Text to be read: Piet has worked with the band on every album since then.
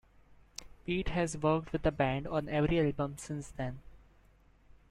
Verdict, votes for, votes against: accepted, 2, 1